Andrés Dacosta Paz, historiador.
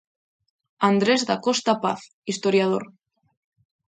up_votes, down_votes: 2, 0